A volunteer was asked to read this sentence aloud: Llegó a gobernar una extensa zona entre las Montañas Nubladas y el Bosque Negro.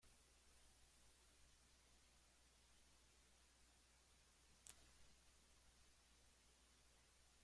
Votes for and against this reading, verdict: 0, 3, rejected